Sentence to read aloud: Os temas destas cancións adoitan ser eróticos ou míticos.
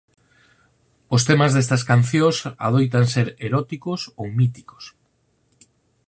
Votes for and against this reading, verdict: 4, 0, accepted